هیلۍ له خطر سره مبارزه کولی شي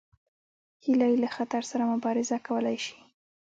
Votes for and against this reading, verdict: 2, 0, accepted